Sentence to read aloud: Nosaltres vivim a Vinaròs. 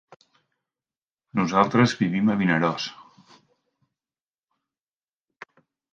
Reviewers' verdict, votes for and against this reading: accepted, 3, 0